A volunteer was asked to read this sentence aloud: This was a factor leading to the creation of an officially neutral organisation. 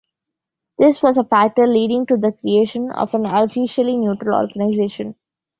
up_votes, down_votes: 2, 0